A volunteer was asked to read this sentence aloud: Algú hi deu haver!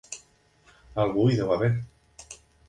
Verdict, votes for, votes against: accepted, 2, 0